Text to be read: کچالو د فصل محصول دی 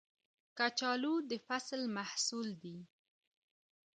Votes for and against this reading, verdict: 2, 0, accepted